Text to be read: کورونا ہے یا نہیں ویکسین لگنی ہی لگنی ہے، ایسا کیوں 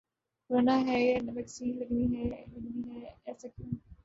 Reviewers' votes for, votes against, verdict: 0, 3, rejected